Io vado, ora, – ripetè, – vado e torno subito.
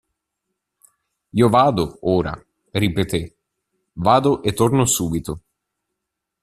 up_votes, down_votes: 2, 0